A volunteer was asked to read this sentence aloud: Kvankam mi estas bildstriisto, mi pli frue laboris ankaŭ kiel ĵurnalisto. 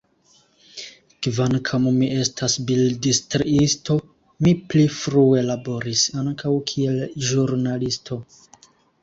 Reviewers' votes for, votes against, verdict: 0, 2, rejected